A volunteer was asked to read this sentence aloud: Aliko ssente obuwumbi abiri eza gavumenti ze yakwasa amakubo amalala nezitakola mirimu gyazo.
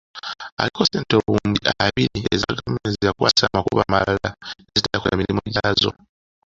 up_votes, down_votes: 2, 1